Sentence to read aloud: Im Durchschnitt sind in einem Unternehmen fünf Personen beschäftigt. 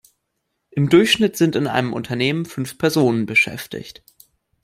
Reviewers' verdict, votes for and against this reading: accepted, 2, 0